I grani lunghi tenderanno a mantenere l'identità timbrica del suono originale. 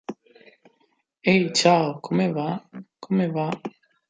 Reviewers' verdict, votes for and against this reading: rejected, 0, 2